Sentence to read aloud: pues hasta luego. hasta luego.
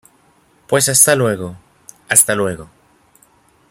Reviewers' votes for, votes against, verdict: 2, 0, accepted